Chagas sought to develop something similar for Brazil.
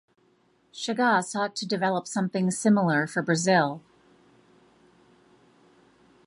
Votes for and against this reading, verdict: 2, 0, accepted